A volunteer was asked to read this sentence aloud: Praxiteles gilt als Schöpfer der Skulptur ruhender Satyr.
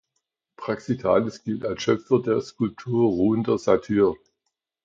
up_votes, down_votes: 0, 2